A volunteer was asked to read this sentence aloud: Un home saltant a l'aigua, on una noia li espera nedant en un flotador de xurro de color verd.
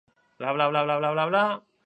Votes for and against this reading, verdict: 0, 2, rejected